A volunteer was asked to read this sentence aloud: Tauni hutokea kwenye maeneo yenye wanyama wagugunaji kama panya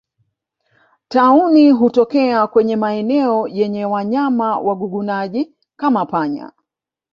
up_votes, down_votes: 1, 2